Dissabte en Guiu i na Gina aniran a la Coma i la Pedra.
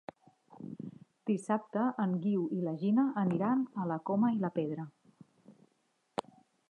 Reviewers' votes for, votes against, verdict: 1, 2, rejected